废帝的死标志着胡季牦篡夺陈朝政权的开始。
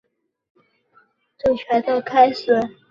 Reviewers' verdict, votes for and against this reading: rejected, 1, 3